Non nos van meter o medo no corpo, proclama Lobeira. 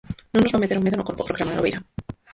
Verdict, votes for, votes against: rejected, 0, 4